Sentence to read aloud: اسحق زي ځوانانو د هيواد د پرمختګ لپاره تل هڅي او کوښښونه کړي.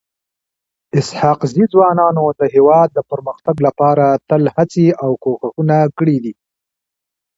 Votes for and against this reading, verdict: 0, 2, rejected